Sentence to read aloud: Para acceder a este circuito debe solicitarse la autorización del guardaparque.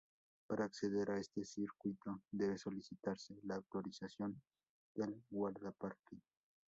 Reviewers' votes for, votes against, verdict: 0, 2, rejected